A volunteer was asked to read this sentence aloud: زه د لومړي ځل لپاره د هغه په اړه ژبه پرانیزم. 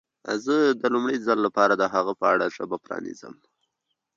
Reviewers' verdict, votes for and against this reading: rejected, 1, 2